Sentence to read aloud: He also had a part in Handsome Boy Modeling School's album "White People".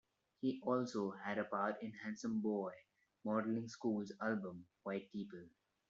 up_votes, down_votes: 2, 0